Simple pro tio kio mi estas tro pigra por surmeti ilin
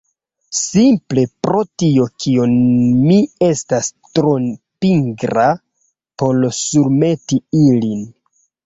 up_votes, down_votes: 0, 2